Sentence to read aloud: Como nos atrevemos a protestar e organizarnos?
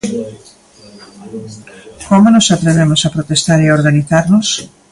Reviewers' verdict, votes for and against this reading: accepted, 2, 1